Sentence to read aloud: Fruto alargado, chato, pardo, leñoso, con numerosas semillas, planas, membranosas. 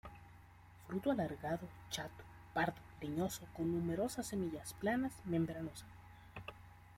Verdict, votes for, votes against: accepted, 2, 0